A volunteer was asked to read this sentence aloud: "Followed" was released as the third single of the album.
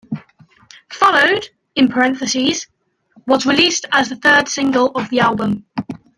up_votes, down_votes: 2, 0